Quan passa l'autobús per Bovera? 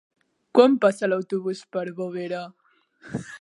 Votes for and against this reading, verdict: 1, 2, rejected